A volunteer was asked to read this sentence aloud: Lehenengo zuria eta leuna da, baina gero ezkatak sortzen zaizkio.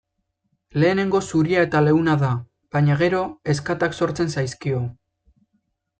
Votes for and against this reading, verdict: 2, 0, accepted